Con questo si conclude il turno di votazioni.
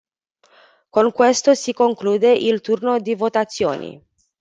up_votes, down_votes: 1, 2